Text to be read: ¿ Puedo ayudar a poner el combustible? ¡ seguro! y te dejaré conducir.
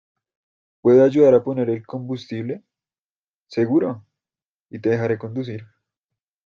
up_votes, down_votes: 2, 0